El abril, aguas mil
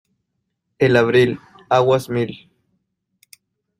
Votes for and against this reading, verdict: 2, 0, accepted